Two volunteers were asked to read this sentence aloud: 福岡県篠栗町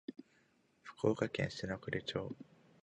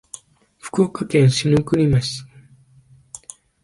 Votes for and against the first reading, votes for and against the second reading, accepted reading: 4, 0, 1, 2, first